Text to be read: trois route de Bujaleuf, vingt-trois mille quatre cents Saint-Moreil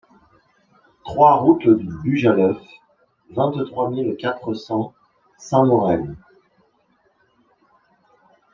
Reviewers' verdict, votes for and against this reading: rejected, 1, 2